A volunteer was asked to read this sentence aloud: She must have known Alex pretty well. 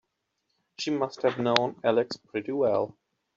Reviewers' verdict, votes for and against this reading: accepted, 2, 0